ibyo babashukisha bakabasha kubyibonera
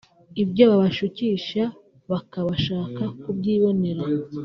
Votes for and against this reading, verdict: 0, 3, rejected